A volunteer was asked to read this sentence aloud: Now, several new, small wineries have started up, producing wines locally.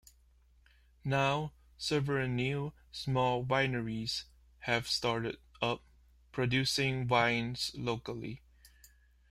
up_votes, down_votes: 2, 0